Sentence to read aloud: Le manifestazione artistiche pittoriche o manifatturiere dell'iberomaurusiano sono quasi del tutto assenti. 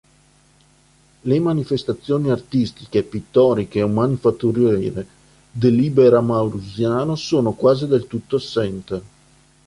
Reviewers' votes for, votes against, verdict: 0, 3, rejected